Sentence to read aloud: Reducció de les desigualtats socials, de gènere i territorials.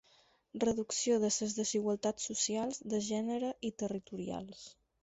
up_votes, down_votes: 0, 4